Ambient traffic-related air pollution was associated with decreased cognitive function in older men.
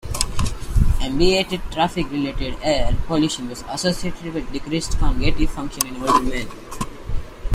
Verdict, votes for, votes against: rejected, 1, 2